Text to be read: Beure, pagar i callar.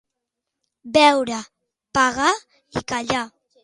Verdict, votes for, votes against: accepted, 2, 1